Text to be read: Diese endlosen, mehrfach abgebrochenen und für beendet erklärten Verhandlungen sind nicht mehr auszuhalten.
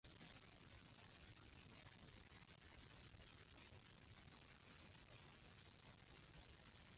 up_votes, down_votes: 0, 2